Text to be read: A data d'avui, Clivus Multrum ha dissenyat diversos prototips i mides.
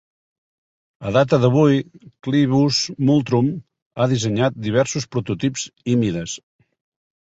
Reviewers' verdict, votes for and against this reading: accepted, 2, 0